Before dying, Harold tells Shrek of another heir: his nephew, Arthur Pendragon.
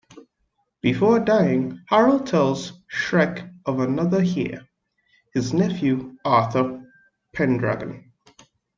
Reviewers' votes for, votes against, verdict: 2, 0, accepted